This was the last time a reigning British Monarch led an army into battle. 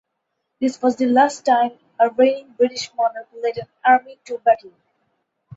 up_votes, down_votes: 2, 2